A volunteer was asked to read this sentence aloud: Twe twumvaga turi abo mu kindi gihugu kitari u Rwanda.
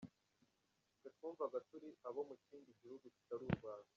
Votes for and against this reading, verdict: 0, 2, rejected